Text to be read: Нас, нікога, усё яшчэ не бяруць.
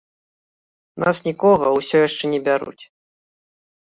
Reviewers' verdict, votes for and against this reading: rejected, 1, 2